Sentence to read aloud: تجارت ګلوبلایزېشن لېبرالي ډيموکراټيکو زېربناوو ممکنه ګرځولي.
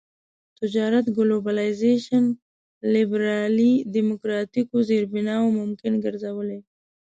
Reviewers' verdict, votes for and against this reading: rejected, 1, 2